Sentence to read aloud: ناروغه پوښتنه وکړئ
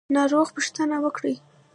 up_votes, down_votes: 0, 2